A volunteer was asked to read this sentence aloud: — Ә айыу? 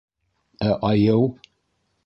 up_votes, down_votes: 0, 2